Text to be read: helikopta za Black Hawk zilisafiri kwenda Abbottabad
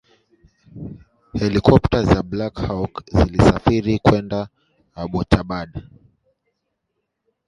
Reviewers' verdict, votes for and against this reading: rejected, 0, 2